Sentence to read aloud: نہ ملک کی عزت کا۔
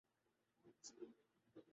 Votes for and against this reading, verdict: 0, 2, rejected